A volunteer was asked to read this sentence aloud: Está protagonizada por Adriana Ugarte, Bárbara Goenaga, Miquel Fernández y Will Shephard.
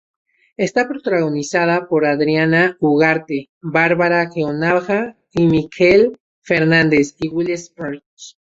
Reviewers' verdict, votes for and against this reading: rejected, 0, 4